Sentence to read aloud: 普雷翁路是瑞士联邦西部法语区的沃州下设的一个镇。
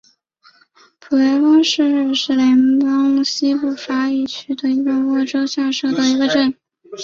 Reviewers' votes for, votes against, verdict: 0, 2, rejected